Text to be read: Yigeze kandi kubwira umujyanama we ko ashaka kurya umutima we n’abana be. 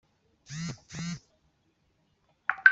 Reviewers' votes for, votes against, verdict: 0, 2, rejected